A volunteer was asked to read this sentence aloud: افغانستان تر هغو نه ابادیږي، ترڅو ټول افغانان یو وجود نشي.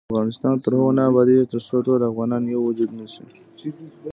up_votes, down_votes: 3, 2